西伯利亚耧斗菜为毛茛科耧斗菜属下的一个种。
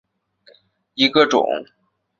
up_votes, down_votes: 1, 6